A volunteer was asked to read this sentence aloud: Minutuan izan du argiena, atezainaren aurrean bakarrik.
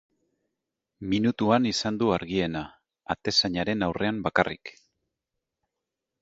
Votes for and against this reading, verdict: 4, 0, accepted